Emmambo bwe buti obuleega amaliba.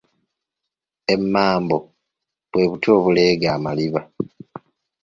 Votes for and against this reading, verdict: 2, 1, accepted